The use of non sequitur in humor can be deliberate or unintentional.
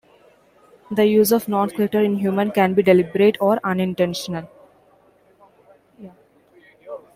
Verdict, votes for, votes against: accepted, 2, 0